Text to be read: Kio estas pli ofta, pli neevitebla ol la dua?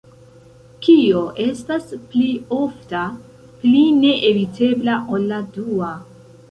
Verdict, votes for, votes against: accepted, 2, 0